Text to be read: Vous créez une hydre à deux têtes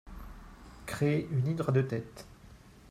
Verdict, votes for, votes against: rejected, 0, 4